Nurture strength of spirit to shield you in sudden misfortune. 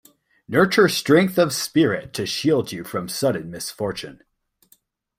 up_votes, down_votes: 2, 1